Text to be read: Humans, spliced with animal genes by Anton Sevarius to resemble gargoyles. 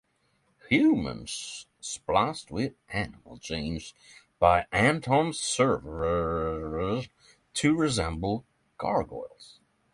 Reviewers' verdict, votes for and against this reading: rejected, 3, 3